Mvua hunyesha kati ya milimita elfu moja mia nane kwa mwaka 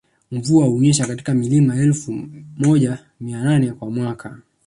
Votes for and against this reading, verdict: 2, 0, accepted